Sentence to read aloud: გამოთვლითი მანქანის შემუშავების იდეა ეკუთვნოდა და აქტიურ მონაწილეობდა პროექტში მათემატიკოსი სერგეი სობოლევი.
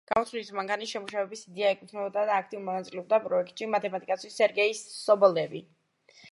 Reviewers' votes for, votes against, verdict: 1, 2, rejected